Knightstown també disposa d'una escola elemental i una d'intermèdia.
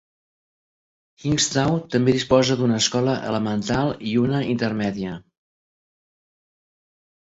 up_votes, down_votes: 1, 2